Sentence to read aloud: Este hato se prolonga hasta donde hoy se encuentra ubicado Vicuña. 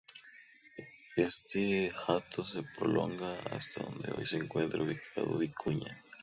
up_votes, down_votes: 0, 2